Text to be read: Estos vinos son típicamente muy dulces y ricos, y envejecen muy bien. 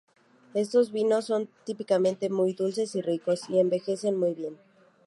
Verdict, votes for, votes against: accepted, 2, 0